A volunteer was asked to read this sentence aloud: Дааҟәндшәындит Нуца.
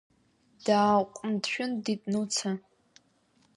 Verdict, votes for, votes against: accepted, 2, 0